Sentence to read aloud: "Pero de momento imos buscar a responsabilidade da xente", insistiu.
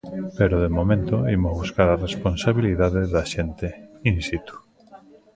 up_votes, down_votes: 0, 2